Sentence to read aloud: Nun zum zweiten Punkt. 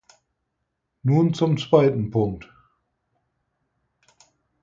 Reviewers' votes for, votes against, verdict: 4, 0, accepted